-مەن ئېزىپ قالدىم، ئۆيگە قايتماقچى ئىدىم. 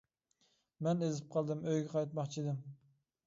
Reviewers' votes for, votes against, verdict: 2, 0, accepted